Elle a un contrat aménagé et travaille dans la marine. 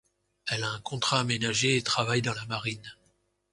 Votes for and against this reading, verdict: 2, 0, accepted